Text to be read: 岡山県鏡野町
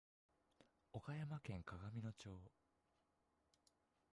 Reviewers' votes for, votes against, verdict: 1, 2, rejected